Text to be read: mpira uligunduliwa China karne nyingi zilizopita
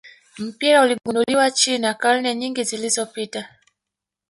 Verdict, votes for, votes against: accepted, 2, 0